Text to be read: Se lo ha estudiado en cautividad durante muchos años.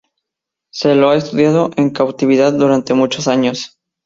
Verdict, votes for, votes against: rejected, 2, 2